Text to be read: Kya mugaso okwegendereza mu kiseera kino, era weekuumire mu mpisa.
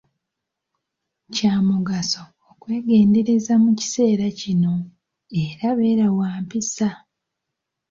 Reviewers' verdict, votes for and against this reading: rejected, 2, 3